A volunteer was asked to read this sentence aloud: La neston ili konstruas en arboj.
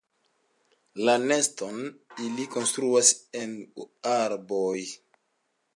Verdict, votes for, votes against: accepted, 2, 1